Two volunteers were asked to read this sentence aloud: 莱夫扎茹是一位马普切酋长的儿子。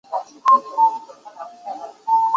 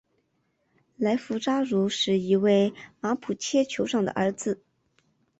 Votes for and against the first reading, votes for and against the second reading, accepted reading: 0, 4, 2, 0, second